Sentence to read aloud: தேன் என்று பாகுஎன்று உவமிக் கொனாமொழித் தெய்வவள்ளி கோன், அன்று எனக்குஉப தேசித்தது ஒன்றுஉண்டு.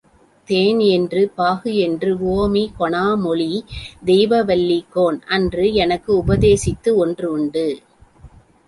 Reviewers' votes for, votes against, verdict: 0, 2, rejected